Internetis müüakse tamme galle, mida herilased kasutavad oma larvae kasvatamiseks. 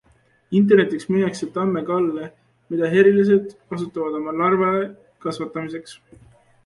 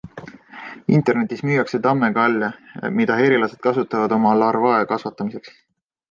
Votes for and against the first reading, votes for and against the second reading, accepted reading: 0, 2, 2, 0, second